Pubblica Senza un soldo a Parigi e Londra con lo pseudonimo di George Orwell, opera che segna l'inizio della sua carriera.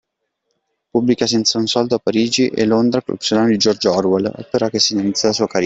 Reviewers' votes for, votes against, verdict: 0, 2, rejected